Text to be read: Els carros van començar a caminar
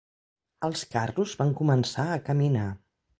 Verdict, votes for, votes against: accepted, 2, 0